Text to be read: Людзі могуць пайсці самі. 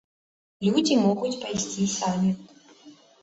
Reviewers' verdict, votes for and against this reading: accepted, 2, 0